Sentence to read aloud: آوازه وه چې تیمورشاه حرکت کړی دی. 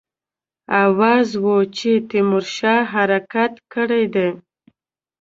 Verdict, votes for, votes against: rejected, 0, 2